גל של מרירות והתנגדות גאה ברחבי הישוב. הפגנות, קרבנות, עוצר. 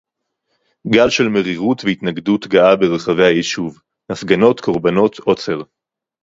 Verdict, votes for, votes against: accepted, 4, 0